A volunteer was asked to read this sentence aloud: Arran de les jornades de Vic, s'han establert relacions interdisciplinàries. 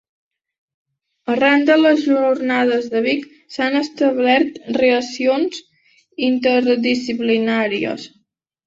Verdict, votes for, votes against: rejected, 0, 2